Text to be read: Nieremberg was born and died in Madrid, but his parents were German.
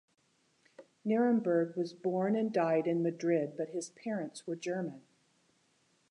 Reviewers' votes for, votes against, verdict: 2, 0, accepted